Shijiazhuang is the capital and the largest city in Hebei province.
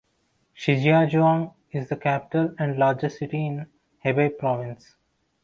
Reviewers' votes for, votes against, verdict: 2, 1, accepted